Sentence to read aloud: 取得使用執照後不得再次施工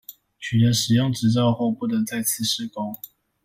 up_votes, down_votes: 2, 0